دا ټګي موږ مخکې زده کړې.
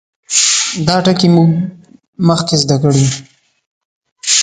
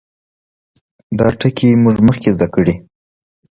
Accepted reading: second